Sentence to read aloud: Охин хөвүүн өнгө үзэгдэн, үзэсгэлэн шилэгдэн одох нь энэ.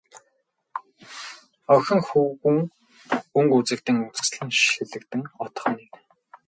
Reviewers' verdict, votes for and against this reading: rejected, 0, 2